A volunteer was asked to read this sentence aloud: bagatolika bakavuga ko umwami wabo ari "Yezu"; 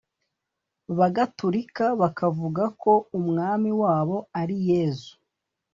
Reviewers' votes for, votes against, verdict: 2, 0, accepted